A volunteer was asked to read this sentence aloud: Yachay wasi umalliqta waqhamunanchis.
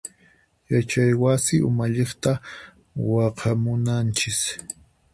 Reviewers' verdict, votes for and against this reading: accepted, 4, 2